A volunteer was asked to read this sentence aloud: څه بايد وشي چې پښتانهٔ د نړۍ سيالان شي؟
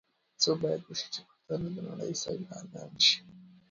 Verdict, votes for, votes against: rejected, 0, 2